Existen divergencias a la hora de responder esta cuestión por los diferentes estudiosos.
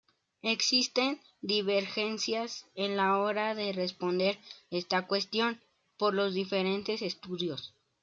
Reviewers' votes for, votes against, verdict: 0, 2, rejected